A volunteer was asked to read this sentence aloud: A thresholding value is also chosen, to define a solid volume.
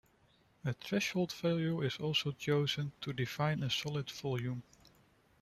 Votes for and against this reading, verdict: 0, 2, rejected